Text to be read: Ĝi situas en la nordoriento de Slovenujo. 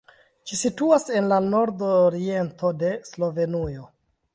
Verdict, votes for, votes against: accepted, 2, 0